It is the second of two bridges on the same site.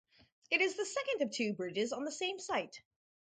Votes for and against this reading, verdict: 2, 2, rejected